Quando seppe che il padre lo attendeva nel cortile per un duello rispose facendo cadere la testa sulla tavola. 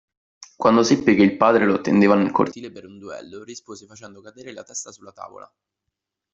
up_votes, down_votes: 1, 2